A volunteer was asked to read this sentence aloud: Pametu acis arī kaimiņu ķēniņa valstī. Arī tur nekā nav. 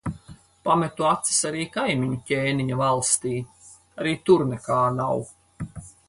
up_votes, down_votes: 4, 0